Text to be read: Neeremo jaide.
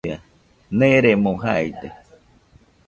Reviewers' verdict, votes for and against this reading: rejected, 1, 2